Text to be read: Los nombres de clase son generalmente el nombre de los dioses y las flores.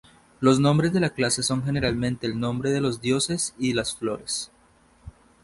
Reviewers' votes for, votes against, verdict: 0, 2, rejected